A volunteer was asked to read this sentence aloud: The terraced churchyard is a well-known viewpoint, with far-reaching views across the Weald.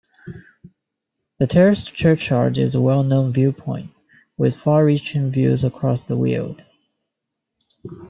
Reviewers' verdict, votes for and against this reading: accepted, 2, 0